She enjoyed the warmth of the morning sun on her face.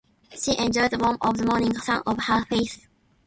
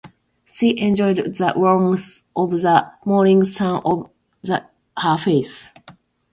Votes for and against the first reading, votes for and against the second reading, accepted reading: 2, 1, 0, 2, first